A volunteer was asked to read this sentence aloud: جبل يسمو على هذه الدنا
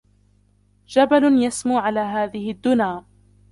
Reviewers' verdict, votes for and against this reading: rejected, 1, 2